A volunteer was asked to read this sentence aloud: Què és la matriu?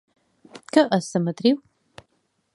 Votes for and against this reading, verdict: 2, 1, accepted